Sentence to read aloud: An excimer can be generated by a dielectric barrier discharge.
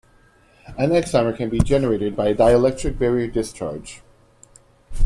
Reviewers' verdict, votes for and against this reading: accepted, 2, 1